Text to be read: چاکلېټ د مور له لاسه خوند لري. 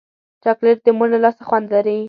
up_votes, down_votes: 2, 0